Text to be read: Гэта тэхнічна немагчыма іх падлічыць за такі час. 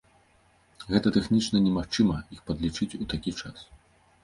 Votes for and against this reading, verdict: 0, 2, rejected